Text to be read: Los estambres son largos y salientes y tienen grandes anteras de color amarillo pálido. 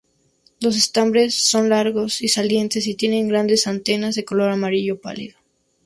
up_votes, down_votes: 2, 0